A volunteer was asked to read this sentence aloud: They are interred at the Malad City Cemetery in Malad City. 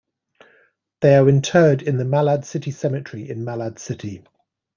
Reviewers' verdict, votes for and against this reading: accepted, 2, 1